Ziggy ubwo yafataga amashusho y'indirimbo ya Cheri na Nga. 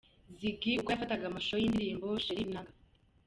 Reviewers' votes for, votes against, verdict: 1, 2, rejected